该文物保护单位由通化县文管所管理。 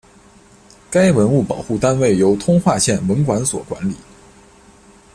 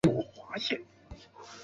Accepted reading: first